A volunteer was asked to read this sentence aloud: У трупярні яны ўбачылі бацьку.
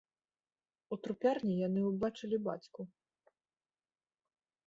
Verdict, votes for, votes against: accepted, 2, 0